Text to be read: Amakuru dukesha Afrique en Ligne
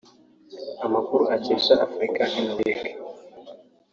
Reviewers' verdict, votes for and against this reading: rejected, 0, 2